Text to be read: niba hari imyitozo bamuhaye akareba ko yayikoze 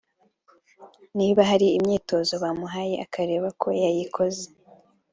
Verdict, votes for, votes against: rejected, 1, 2